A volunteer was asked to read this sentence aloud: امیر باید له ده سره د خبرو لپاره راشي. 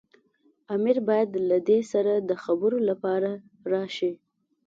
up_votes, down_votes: 2, 1